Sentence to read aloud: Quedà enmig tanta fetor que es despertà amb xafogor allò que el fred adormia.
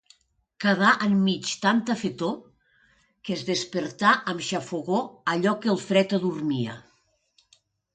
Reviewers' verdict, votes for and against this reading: accepted, 2, 0